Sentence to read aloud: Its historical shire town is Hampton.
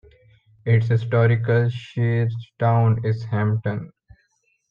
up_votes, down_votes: 1, 2